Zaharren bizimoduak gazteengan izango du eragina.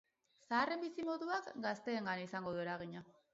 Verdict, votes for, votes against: accepted, 2, 0